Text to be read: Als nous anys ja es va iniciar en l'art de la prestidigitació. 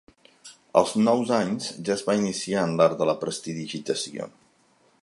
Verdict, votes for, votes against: accepted, 2, 0